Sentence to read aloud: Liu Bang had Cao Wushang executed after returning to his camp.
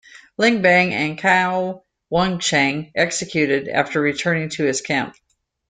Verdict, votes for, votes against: rejected, 0, 2